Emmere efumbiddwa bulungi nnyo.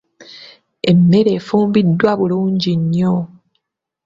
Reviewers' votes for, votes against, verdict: 2, 0, accepted